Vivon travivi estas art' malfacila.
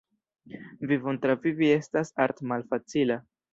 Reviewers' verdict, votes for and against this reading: rejected, 1, 2